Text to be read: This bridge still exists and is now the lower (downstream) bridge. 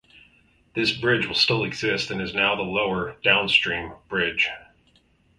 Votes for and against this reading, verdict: 2, 2, rejected